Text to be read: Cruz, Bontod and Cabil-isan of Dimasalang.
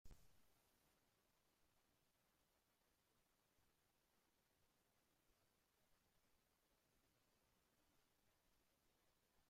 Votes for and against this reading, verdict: 0, 2, rejected